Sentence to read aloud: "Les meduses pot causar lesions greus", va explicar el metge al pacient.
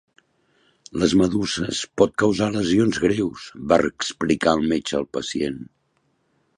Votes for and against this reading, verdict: 1, 2, rejected